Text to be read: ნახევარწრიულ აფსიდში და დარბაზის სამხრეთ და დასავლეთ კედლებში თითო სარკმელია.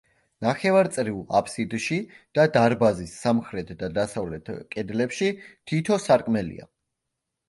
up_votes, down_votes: 2, 0